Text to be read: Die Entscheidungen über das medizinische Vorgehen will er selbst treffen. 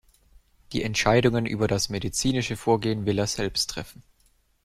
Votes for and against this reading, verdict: 2, 0, accepted